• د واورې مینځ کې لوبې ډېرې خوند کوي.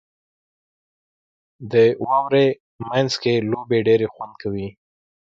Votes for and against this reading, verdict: 2, 1, accepted